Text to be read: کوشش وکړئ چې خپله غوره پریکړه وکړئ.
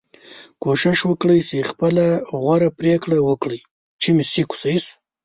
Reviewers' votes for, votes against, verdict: 1, 4, rejected